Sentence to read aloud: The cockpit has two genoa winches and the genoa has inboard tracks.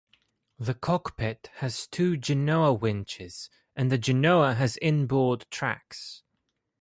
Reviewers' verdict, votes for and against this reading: accepted, 2, 0